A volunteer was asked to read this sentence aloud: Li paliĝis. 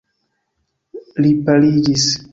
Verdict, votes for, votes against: accepted, 2, 0